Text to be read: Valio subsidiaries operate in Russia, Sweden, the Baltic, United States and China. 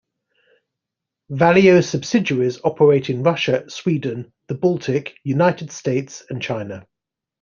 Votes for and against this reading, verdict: 2, 0, accepted